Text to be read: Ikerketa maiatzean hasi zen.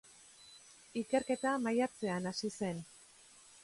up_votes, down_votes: 2, 0